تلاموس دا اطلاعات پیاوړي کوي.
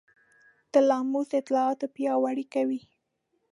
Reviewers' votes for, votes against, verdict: 2, 0, accepted